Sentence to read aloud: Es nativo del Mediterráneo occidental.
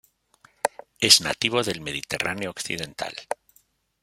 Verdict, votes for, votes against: accepted, 2, 0